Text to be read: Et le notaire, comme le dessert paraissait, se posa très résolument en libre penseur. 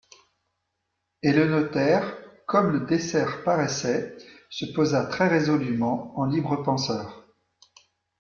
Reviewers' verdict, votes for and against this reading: accepted, 2, 0